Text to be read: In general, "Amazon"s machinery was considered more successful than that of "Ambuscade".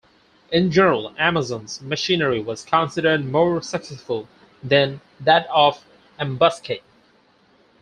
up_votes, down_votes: 4, 0